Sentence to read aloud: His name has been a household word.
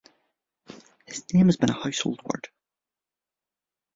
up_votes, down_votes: 1, 2